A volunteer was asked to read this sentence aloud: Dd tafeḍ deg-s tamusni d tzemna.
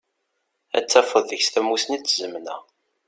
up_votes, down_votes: 1, 2